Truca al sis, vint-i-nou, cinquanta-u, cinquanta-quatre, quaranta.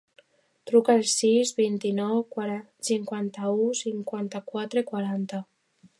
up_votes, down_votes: 0, 2